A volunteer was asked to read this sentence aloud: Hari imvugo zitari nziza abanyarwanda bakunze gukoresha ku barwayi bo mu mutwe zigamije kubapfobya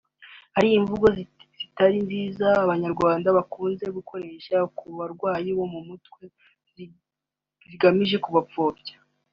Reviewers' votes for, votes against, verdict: 3, 0, accepted